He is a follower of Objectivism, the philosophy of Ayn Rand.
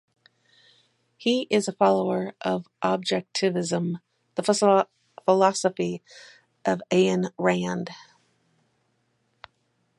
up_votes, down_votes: 0, 4